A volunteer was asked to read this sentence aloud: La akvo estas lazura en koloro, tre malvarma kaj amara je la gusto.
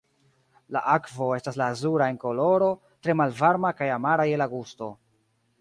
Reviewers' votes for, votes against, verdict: 0, 2, rejected